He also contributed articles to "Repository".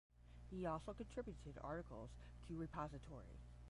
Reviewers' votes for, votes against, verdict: 10, 5, accepted